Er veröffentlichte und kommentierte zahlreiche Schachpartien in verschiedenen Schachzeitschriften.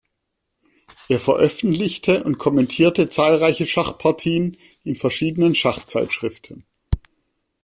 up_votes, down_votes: 2, 0